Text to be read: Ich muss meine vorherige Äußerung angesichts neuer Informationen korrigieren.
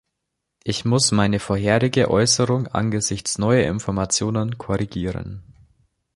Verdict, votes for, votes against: accepted, 2, 0